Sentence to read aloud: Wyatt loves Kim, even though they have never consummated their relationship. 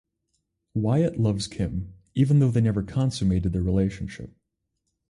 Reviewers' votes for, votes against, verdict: 0, 4, rejected